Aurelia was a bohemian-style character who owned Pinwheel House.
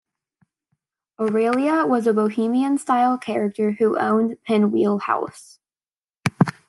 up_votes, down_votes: 2, 0